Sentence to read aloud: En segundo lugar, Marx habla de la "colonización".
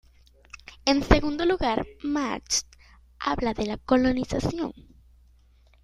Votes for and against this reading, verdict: 2, 1, accepted